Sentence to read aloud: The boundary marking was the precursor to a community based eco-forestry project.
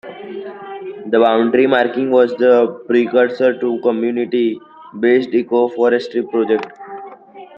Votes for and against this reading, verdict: 1, 2, rejected